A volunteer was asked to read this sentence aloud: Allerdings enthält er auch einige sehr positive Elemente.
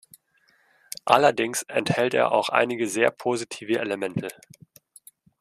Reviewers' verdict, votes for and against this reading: accepted, 2, 0